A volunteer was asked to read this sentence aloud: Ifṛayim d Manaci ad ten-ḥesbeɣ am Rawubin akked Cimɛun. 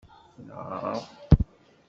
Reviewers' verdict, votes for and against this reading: rejected, 1, 2